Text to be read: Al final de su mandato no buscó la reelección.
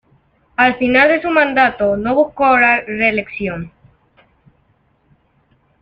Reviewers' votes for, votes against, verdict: 2, 0, accepted